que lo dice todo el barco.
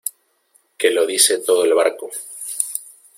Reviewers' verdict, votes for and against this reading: accepted, 2, 0